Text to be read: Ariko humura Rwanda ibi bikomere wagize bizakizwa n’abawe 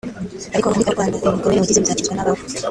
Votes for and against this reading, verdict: 0, 2, rejected